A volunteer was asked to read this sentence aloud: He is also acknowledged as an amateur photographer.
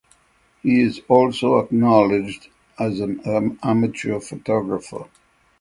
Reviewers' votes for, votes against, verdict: 3, 6, rejected